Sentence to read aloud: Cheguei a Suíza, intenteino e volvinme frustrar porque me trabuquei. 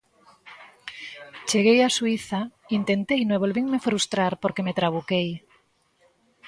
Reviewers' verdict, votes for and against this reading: accepted, 2, 0